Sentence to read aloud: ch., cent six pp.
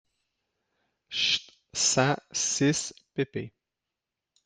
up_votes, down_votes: 0, 2